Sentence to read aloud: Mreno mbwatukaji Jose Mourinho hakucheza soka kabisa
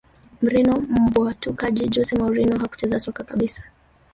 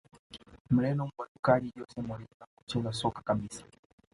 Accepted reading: second